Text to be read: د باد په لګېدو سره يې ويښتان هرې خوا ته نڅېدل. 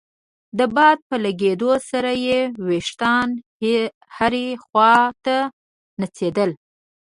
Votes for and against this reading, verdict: 0, 2, rejected